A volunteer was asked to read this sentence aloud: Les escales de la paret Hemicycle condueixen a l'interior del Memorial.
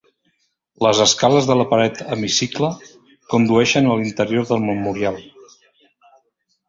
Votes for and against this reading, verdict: 0, 2, rejected